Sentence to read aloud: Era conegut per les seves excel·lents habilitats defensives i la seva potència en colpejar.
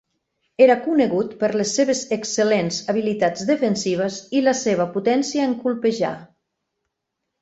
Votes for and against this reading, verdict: 4, 0, accepted